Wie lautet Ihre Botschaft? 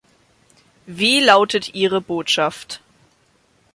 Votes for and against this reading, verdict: 2, 0, accepted